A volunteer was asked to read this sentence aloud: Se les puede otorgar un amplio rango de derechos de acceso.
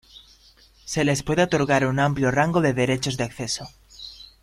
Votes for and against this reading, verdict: 1, 2, rejected